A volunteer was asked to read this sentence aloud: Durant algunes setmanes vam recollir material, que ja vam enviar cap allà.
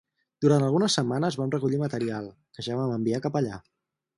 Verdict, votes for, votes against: accepted, 4, 0